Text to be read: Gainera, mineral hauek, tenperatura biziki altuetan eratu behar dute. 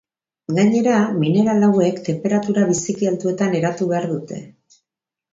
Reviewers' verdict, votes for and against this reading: accepted, 3, 0